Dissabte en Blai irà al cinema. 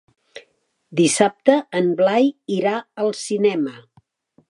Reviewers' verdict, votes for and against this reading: accepted, 3, 0